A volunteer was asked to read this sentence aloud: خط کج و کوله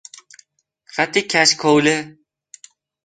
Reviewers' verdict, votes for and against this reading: rejected, 1, 2